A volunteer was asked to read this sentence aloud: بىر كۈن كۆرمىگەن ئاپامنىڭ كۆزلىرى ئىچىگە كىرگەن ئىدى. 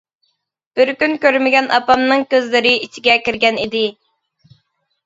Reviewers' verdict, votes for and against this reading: accepted, 2, 0